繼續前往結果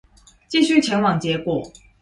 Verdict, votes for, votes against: accepted, 2, 0